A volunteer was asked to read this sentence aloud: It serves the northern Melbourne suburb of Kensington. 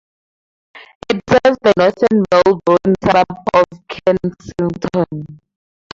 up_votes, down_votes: 2, 2